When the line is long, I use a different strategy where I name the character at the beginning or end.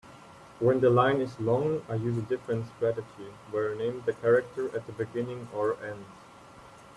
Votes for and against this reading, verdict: 2, 0, accepted